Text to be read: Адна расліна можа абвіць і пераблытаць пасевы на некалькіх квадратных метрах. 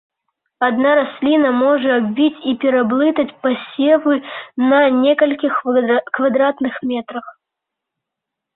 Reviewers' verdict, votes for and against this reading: rejected, 0, 2